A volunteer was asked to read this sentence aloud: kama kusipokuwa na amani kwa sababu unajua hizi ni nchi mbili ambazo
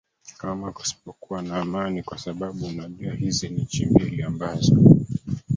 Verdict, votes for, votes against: accepted, 2, 1